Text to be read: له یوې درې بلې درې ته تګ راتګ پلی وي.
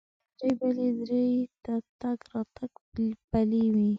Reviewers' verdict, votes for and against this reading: rejected, 0, 2